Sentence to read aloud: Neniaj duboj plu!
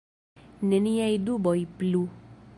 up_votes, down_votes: 1, 2